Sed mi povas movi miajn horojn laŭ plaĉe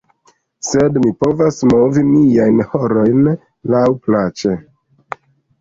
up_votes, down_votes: 0, 2